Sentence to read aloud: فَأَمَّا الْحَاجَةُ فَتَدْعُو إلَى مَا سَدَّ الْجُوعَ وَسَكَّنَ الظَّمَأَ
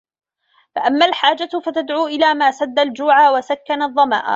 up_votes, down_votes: 2, 0